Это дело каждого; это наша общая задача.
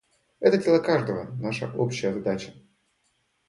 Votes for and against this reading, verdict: 0, 2, rejected